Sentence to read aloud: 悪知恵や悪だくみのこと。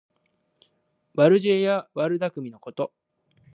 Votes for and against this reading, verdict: 2, 0, accepted